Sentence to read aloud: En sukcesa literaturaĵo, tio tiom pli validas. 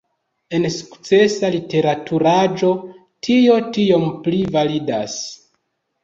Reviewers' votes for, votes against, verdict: 0, 2, rejected